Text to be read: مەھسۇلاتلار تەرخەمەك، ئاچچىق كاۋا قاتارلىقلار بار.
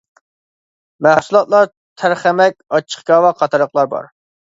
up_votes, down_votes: 2, 0